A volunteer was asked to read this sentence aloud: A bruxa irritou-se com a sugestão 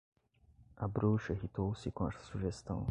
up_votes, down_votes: 1, 2